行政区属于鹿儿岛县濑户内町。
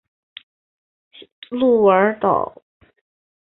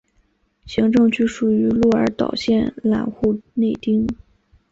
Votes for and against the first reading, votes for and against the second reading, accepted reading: 0, 2, 4, 3, second